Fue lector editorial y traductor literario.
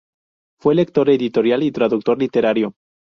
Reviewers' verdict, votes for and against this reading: rejected, 2, 2